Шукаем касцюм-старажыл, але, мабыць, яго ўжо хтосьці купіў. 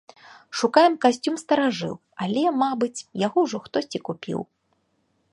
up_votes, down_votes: 2, 0